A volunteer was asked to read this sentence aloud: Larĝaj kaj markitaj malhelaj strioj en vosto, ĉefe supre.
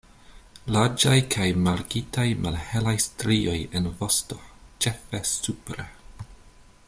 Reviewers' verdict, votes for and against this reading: accepted, 2, 0